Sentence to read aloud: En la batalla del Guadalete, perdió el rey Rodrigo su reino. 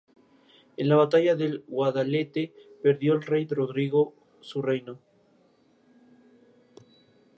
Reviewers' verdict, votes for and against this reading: accepted, 2, 0